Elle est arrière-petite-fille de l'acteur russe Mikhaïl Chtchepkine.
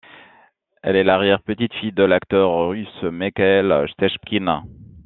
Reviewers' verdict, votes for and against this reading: rejected, 1, 2